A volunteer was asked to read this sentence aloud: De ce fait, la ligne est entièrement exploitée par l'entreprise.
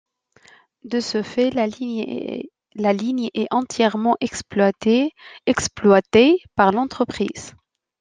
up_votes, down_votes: 0, 2